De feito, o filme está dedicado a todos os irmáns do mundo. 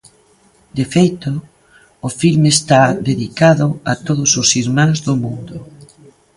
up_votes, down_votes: 1, 2